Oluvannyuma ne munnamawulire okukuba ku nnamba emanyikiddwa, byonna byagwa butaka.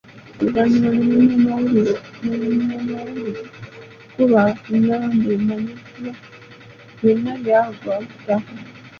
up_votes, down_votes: 0, 2